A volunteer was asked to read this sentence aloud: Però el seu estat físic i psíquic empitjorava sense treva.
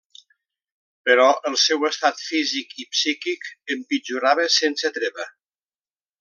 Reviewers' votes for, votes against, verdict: 2, 0, accepted